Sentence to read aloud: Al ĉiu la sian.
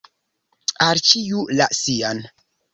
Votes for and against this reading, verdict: 1, 2, rejected